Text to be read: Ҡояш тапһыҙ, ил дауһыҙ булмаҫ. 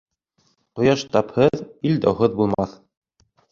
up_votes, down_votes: 3, 1